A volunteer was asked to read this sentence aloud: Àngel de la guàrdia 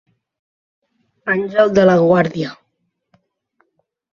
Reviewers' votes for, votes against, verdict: 4, 0, accepted